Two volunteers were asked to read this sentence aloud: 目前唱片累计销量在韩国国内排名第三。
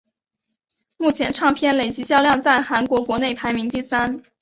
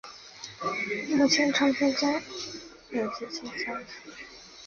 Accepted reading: first